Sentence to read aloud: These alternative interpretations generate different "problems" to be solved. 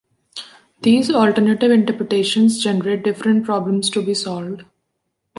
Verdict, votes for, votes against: rejected, 0, 2